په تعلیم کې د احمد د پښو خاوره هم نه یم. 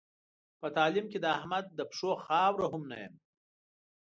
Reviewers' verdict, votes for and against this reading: accepted, 2, 0